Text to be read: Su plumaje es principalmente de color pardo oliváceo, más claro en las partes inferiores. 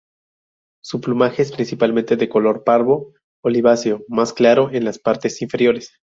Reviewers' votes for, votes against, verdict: 2, 0, accepted